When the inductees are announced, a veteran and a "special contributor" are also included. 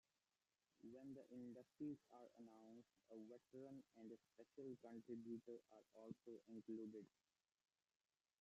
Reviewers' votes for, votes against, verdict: 0, 2, rejected